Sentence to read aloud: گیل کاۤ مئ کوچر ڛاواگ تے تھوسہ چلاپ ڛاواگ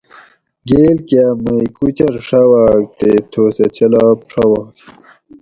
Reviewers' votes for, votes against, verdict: 2, 2, rejected